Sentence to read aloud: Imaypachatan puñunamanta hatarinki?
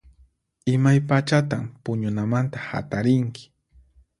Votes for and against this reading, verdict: 4, 0, accepted